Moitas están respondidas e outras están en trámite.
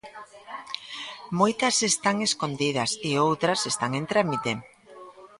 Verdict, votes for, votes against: rejected, 0, 2